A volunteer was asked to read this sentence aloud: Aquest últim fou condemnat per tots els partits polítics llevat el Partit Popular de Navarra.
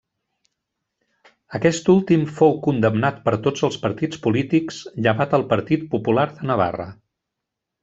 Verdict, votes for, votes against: rejected, 1, 2